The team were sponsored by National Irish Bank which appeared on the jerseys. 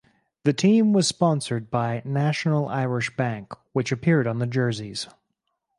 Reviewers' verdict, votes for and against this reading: accepted, 4, 0